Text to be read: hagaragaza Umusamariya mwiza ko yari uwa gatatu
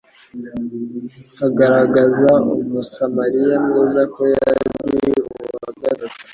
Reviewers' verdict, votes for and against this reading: accepted, 2, 1